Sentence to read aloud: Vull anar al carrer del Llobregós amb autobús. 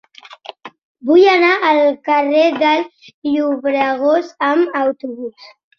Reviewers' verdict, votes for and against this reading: accepted, 2, 0